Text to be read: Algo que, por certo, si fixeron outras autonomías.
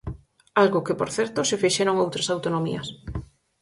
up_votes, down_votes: 4, 0